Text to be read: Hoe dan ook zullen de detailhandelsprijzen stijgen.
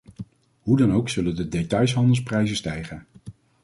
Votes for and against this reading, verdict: 1, 2, rejected